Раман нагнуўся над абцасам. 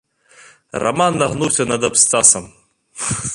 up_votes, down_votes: 0, 2